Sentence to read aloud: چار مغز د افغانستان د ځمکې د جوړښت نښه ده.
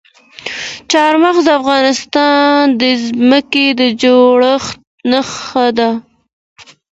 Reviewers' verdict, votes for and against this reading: accepted, 2, 1